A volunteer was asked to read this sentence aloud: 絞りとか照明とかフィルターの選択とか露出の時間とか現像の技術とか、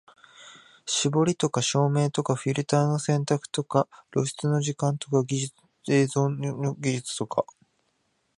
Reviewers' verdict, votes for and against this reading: rejected, 1, 2